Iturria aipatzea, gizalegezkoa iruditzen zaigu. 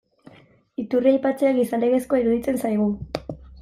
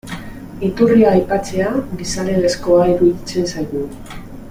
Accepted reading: first